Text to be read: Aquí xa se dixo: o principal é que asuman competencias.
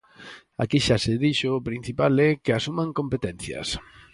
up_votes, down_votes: 4, 0